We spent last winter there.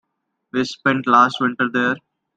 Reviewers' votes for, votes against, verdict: 2, 0, accepted